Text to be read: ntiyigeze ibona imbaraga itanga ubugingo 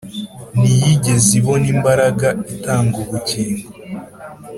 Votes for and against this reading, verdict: 3, 0, accepted